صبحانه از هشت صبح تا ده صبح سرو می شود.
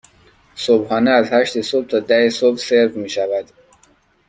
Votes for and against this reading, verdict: 2, 0, accepted